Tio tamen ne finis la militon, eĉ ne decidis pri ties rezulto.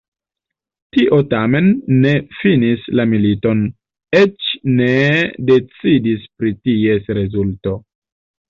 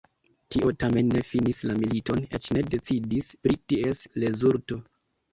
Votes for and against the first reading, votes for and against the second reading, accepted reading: 2, 0, 1, 2, first